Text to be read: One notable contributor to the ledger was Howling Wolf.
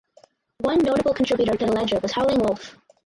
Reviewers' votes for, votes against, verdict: 0, 4, rejected